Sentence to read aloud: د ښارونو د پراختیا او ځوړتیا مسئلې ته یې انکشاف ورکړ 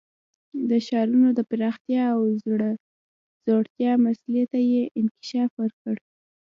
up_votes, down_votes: 1, 2